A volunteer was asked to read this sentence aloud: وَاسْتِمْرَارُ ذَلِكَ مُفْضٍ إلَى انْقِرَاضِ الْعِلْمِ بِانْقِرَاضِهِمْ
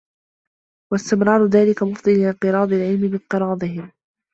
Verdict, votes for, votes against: rejected, 0, 2